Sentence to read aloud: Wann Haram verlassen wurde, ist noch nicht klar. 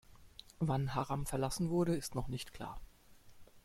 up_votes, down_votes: 2, 0